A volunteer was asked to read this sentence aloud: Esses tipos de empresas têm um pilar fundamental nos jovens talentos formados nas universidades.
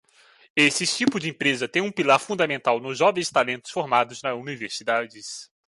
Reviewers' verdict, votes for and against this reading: rejected, 1, 2